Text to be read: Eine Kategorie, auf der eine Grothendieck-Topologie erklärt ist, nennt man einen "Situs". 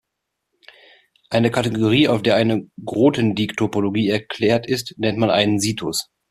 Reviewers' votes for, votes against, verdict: 2, 0, accepted